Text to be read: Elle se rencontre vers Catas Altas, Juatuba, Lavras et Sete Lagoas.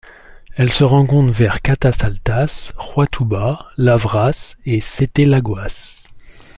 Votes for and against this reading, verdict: 2, 0, accepted